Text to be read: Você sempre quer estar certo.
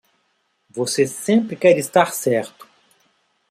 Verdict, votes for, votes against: accepted, 2, 0